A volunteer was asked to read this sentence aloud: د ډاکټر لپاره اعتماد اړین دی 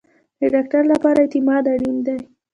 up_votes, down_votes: 2, 1